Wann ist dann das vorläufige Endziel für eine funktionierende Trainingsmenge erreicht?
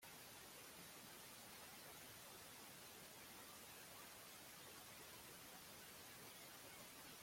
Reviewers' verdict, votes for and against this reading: rejected, 0, 2